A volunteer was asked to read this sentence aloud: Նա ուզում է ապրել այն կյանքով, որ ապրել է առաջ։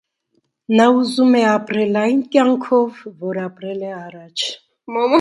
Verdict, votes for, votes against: rejected, 0, 2